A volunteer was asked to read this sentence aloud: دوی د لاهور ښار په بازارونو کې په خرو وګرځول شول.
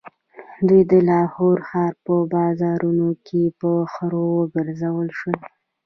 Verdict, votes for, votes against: rejected, 1, 2